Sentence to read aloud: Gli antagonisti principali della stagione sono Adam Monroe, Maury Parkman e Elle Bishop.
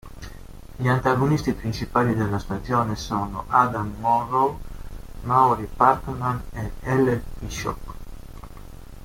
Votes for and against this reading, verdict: 2, 0, accepted